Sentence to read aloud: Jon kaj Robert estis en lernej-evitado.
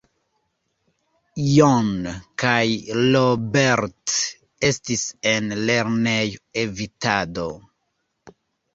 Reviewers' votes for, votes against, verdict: 1, 2, rejected